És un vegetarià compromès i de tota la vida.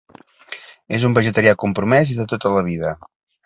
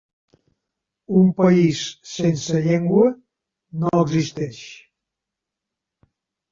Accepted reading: first